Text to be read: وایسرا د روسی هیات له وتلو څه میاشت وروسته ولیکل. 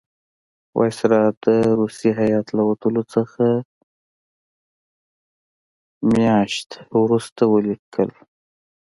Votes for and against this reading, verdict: 1, 2, rejected